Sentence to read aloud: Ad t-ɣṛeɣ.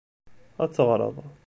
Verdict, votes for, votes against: rejected, 1, 2